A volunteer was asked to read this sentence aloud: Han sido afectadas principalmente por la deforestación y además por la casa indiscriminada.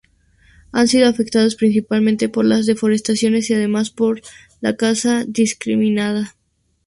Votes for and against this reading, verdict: 0, 2, rejected